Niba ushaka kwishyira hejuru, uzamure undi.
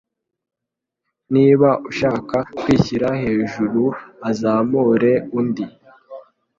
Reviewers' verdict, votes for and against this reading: rejected, 1, 3